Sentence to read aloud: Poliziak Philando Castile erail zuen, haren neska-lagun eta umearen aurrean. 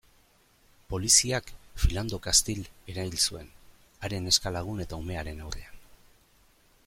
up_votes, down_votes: 2, 1